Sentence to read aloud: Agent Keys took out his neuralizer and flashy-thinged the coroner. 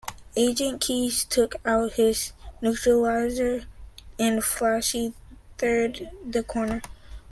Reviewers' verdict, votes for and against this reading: rejected, 1, 2